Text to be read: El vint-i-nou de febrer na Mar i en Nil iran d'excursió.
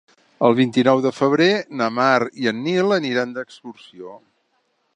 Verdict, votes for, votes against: rejected, 0, 2